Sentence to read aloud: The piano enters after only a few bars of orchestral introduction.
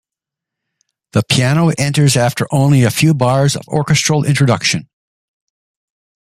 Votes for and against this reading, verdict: 2, 0, accepted